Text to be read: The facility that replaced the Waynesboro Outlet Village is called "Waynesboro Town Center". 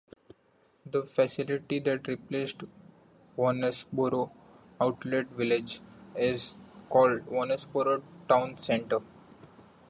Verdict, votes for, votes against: rejected, 1, 2